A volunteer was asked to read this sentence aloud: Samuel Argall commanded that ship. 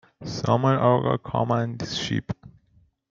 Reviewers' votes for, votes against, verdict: 0, 2, rejected